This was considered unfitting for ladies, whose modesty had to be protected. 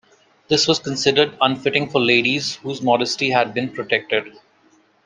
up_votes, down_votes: 0, 2